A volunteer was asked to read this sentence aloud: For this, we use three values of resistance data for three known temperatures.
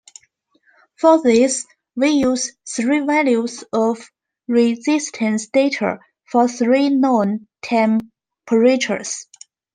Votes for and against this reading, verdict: 2, 0, accepted